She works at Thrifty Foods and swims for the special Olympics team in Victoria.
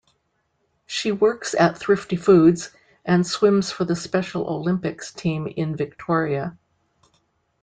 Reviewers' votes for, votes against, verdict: 2, 0, accepted